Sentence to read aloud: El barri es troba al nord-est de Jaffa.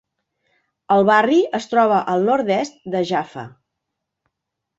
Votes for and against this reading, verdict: 2, 0, accepted